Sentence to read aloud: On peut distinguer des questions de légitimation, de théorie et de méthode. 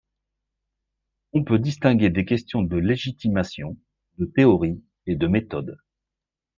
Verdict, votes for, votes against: accepted, 2, 0